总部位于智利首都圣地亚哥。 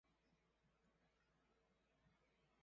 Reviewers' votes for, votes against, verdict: 0, 3, rejected